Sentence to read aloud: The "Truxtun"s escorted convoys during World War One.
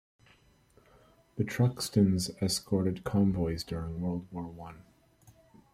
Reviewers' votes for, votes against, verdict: 2, 0, accepted